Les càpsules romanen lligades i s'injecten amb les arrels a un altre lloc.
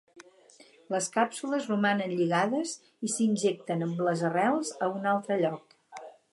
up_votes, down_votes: 0, 4